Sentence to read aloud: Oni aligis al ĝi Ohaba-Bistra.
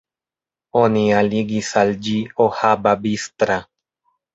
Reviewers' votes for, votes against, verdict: 2, 0, accepted